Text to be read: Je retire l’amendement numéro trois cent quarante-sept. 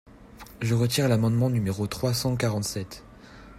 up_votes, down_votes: 2, 0